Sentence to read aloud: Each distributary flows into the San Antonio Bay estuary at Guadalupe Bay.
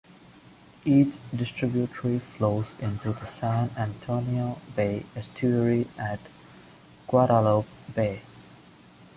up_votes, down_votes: 2, 0